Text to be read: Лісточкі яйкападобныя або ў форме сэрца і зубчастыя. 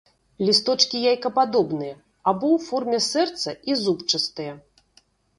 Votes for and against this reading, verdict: 0, 2, rejected